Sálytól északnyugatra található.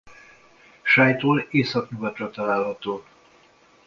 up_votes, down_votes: 2, 0